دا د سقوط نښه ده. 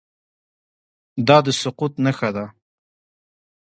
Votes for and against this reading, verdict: 1, 2, rejected